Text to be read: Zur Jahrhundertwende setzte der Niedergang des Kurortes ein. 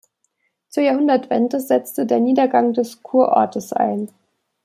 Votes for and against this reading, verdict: 2, 0, accepted